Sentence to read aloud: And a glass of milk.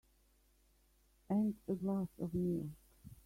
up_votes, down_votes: 2, 0